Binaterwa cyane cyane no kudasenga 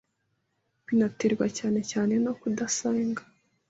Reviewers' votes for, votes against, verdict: 1, 2, rejected